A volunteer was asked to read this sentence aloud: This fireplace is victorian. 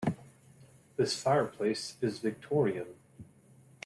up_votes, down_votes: 2, 0